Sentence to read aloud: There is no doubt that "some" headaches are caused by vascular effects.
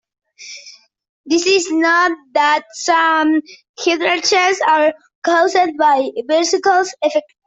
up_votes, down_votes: 0, 2